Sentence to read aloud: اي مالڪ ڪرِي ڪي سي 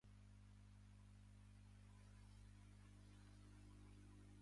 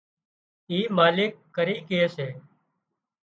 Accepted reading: second